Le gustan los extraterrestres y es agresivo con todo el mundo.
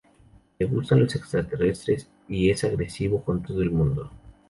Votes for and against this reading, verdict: 0, 2, rejected